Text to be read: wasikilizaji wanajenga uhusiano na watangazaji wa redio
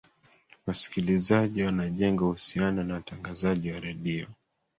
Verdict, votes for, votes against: accepted, 2, 1